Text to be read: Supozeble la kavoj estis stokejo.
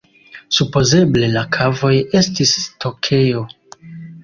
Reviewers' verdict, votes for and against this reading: accepted, 2, 1